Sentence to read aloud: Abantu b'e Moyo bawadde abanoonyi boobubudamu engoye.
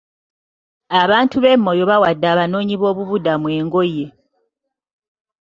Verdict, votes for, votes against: accepted, 2, 0